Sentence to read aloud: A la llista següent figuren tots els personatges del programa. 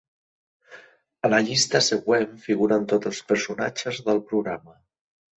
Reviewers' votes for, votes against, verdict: 4, 0, accepted